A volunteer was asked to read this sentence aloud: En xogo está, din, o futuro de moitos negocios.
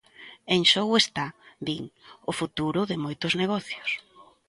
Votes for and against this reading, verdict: 2, 0, accepted